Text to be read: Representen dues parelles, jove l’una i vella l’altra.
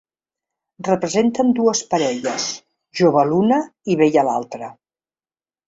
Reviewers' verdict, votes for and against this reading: rejected, 0, 2